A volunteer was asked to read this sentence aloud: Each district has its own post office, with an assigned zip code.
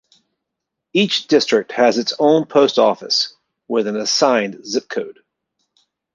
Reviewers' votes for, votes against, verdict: 2, 0, accepted